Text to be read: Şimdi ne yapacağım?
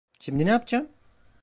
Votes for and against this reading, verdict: 0, 2, rejected